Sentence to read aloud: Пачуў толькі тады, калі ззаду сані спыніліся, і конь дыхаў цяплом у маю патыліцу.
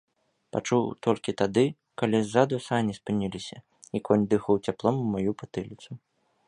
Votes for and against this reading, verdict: 2, 0, accepted